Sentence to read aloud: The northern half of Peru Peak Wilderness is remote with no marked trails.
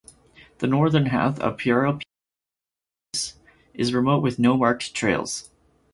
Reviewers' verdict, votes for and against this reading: rejected, 0, 2